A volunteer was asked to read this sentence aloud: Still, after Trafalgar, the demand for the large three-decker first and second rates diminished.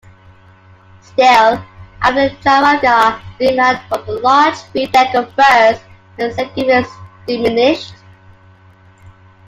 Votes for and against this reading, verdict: 0, 2, rejected